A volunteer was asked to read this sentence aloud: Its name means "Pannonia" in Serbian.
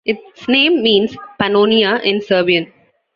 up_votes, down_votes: 2, 0